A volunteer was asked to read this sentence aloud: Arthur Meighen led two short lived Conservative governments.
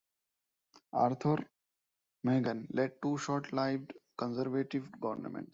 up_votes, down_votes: 0, 2